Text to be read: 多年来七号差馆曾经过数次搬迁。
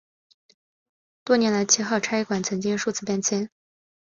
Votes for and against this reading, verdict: 2, 1, accepted